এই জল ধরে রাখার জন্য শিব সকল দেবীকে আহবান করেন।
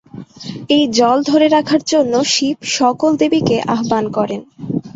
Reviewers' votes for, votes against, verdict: 3, 1, accepted